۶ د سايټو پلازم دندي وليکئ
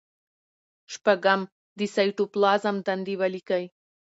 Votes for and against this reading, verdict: 0, 2, rejected